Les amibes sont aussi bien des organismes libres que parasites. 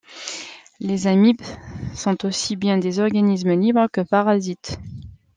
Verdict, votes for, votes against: accepted, 2, 0